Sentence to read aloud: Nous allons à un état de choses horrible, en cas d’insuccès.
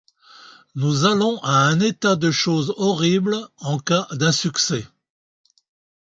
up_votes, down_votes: 1, 2